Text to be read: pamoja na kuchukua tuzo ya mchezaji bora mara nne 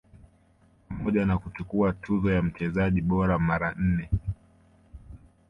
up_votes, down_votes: 2, 0